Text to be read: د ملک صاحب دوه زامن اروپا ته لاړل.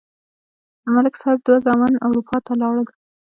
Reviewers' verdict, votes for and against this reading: accepted, 2, 1